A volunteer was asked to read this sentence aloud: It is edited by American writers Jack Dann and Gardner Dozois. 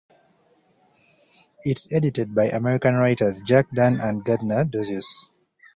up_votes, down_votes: 2, 0